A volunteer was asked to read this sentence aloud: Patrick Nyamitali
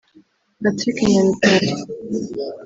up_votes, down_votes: 1, 2